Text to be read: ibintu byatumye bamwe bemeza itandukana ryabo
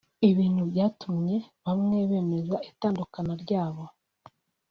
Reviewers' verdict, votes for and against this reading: accepted, 2, 0